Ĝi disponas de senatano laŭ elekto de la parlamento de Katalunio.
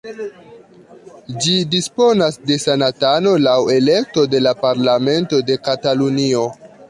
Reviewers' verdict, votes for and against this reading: accepted, 2, 0